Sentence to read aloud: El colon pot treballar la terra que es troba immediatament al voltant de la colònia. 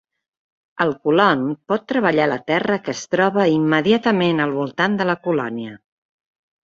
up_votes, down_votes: 3, 0